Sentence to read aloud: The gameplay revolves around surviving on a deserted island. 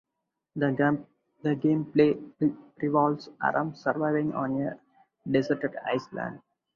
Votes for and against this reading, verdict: 2, 2, rejected